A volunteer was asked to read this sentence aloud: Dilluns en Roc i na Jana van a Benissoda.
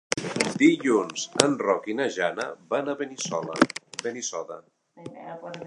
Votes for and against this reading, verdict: 1, 2, rejected